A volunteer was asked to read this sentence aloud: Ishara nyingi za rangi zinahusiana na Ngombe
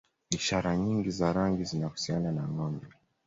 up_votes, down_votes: 2, 0